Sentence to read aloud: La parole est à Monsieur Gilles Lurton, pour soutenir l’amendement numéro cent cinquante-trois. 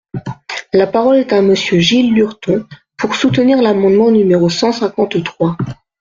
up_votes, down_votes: 2, 0